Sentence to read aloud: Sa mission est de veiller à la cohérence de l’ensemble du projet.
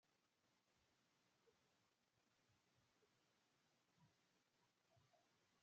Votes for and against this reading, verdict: 0, 2, rejected